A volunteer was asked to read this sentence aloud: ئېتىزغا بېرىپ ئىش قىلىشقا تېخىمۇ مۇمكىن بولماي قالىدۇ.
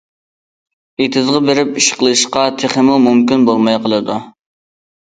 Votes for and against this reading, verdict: 2, 0, accepted